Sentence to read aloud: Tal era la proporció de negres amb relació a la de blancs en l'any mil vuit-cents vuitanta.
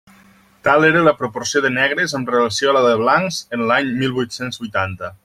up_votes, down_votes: 3, 0